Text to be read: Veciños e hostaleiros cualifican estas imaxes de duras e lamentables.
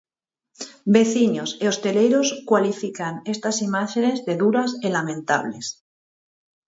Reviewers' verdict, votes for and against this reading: rejected, 0, 4